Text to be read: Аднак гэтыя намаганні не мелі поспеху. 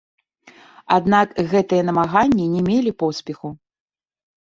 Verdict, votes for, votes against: accepted, 2, 1